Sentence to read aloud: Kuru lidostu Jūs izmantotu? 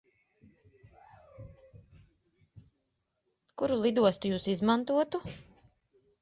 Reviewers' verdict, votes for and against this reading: rejected, 0, 2